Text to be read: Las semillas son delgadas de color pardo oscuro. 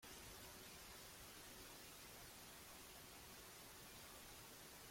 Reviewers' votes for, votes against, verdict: 0, 2, rejected